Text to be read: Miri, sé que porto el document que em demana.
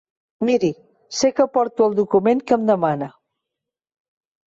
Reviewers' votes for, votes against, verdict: 5, 0, accepted